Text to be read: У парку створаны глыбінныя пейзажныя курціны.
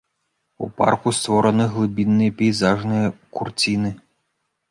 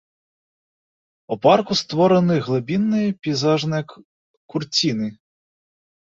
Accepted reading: first